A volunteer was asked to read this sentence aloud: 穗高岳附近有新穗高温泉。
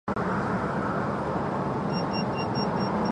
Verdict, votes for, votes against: rejected, 0, 2